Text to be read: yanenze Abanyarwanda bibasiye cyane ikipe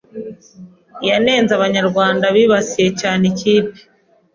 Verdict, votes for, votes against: accepted, 2, 0